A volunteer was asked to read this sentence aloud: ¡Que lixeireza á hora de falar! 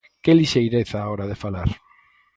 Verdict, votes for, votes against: accepted, 4, 0